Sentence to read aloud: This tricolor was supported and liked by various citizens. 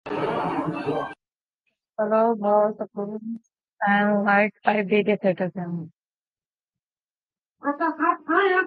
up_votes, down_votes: 0, 2